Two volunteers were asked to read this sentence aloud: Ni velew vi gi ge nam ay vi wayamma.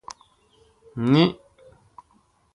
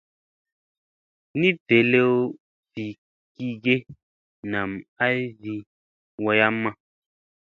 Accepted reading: second